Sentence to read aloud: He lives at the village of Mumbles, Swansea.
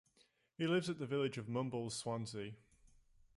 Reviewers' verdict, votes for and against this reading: accepted, 2, 0